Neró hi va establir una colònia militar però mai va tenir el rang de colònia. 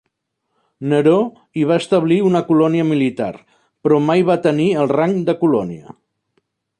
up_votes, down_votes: 2, 0